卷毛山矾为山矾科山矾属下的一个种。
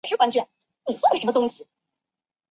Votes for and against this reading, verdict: 0, 2, rejected